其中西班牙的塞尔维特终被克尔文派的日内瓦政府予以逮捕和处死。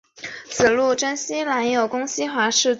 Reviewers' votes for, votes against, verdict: 0, 2, rejected